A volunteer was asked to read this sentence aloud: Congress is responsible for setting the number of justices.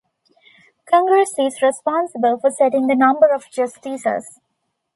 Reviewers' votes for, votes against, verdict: 2, 0, accepted